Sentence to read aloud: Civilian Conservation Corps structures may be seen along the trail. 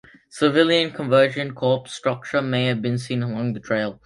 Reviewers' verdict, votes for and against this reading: rejected, 0, 2